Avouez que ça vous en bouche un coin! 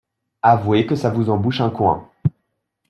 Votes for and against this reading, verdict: 2, 0, accepted